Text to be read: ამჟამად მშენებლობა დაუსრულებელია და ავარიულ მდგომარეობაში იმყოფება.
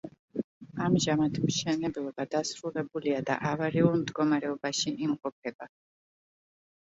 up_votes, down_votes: 0, 2